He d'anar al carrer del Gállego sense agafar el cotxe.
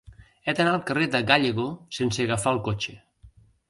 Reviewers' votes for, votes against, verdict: 0, 2, rejected